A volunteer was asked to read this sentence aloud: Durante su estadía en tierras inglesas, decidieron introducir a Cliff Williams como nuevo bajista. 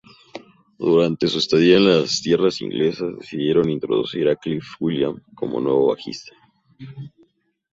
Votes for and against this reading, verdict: 0, 2, rejected